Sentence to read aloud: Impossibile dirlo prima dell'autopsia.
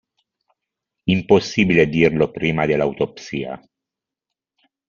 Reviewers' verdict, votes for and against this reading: accepted, 2, 0